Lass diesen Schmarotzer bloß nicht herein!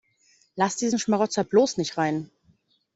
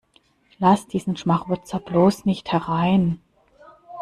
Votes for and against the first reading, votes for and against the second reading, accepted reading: 0, 2, 2, 0, second